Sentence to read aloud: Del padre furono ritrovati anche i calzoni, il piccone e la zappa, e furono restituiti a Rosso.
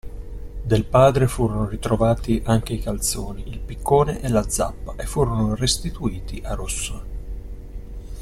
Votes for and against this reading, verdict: 2, 0, accepted